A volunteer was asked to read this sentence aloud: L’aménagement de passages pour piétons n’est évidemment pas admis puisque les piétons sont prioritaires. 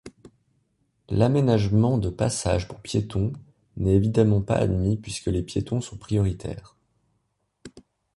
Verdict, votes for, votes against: accepted, 2, 0